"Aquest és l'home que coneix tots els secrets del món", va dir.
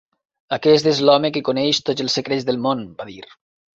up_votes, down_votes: 2, 0